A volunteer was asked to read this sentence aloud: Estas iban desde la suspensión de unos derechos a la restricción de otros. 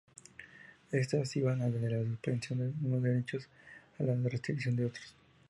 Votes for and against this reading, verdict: 2, 2, rejected